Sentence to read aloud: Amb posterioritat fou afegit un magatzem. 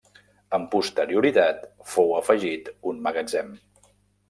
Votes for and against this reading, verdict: 3, 0, accepted